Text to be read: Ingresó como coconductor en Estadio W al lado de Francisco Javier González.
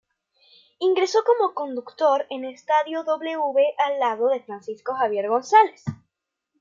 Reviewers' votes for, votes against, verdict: 0, 2, rejected